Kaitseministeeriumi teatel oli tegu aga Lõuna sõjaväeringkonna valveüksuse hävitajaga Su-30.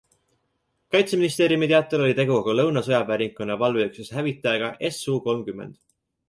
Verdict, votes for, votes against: rejected, 0, 2